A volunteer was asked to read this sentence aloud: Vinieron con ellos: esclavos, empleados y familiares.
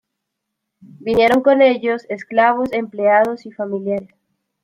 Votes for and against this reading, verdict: 1, 2, rejected